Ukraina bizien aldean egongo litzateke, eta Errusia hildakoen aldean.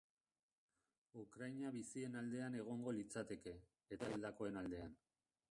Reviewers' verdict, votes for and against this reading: rejected, 1, 2